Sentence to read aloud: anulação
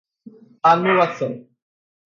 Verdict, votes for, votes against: rejected, 2, 4